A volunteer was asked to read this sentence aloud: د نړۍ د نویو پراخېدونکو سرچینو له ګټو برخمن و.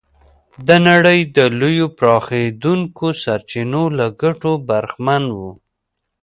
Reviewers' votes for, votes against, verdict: 1, 2, rejected